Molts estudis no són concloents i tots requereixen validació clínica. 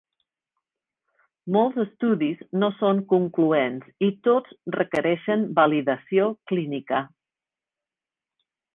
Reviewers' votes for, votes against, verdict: 3, 0, accepted